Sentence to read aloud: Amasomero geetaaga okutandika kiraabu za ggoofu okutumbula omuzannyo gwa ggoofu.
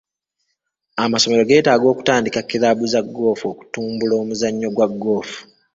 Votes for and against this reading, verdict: 2, 0, accepted